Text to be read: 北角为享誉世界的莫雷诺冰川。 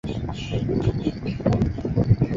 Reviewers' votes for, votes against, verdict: 0, 2, rejected